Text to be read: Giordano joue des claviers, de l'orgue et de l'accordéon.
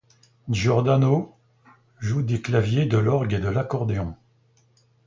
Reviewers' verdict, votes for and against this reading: accepted, 2, 0